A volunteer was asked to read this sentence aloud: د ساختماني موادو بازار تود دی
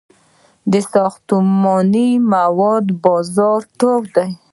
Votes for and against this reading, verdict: 1, 2, rejected